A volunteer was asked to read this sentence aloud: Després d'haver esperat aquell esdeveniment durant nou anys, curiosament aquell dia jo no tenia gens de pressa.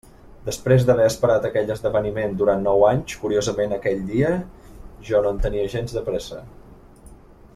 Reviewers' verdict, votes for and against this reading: rejected, 0, 2